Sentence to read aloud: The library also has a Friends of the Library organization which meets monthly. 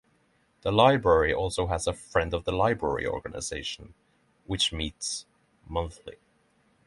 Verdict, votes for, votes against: rejected, 3, 3